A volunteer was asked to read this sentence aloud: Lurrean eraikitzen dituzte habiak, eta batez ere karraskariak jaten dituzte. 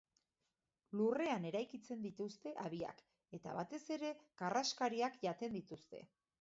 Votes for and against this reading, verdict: 2, 0, accepted